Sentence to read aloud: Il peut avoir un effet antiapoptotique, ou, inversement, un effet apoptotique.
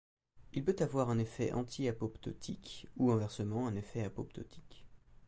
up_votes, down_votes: 2, 0